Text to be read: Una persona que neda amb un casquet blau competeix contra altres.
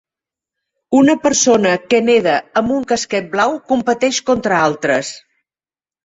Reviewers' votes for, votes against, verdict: 0, 2, rejected